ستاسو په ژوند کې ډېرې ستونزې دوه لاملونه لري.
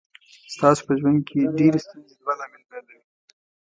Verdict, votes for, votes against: rejected, 1, 2